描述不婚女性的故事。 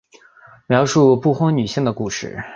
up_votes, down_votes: 2, 0